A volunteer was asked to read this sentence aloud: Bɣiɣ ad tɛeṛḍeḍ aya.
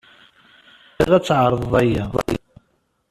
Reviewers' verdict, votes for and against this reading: rejected, 1, 2